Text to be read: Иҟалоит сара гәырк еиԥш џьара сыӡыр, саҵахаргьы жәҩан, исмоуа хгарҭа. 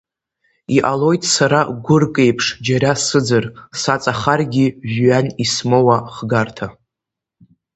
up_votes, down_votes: 3, 0